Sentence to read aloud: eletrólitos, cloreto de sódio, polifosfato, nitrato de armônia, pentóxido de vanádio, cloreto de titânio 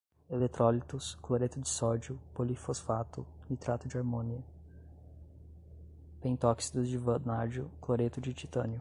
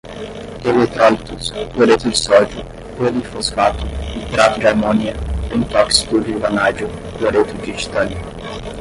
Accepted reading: first